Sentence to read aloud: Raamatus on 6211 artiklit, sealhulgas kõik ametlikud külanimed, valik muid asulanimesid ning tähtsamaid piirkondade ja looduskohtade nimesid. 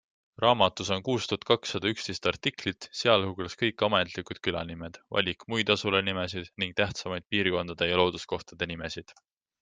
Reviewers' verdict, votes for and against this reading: rejected, 0, 2